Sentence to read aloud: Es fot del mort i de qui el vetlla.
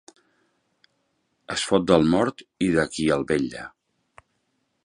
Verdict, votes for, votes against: accepted, 2, 0